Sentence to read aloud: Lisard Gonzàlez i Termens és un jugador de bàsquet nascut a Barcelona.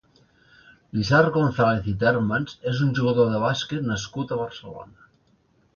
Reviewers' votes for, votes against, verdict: 2, 0, accepted